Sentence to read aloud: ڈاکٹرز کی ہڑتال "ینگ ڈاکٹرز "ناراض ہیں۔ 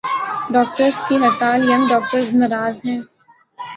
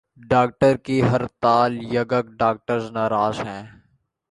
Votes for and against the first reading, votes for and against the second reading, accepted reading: 3, 0, 1, 2, first